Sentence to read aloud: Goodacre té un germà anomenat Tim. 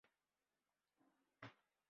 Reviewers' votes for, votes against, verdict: 0, 2, rejected